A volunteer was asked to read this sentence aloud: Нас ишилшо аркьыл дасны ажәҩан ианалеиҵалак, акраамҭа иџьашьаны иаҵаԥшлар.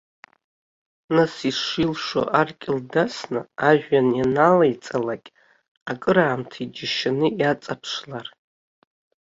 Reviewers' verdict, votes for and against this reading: accepted, 2, 1